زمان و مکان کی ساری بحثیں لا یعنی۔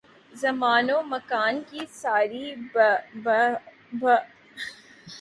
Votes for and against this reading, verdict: 0, 2, rejected